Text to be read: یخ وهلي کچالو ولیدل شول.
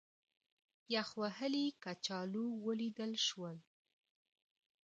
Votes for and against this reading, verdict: 2, 1, accepted